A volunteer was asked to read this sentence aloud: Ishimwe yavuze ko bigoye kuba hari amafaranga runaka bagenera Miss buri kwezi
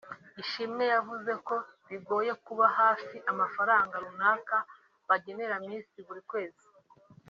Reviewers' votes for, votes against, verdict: 1, 2, rejected